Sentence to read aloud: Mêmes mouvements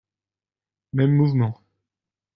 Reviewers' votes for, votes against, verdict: 2, 0, accepted